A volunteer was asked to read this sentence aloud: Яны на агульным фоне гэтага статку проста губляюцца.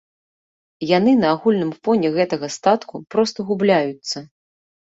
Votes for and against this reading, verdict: 2, 0, accepted